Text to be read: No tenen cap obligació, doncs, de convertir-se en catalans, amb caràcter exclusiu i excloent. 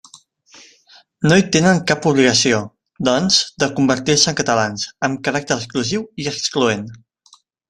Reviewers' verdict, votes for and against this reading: rejected, 1, 3